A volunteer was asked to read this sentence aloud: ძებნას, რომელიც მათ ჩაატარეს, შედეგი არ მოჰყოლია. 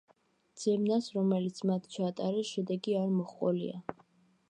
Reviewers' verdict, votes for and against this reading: accepted, 2, 0